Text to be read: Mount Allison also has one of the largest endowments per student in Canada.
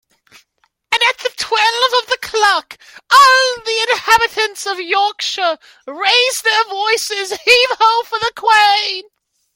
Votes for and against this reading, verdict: 0, 2, rejected